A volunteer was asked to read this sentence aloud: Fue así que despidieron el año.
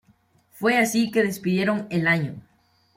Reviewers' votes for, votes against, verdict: 2, 0, accepted